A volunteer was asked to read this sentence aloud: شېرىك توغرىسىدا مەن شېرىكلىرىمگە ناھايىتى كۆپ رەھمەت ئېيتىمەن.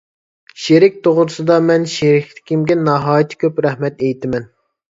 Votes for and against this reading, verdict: 2, 0, accepted